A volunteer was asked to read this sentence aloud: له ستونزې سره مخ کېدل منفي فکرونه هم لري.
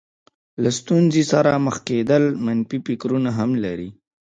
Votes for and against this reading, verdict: 1, 2, rejected